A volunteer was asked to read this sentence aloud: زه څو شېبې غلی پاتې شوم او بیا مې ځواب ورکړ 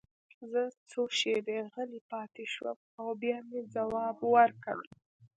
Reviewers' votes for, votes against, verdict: 2, 0, accepted